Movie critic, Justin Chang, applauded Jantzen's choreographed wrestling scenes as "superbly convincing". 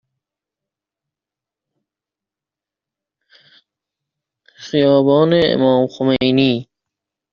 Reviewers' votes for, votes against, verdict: 0, 2, rejected